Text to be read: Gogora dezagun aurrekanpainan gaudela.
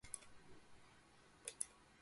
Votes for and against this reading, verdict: 0, 2, rejected